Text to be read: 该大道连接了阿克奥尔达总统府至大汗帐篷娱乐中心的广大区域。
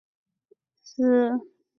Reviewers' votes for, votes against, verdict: 1, 2, rejected